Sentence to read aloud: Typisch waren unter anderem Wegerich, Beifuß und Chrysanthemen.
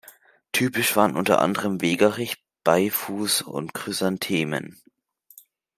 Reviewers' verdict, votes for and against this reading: accepted, 2, 0